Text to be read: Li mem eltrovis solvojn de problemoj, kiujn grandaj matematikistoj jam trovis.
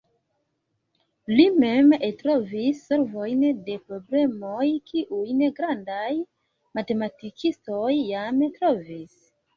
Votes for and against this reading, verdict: 1, 2, rejected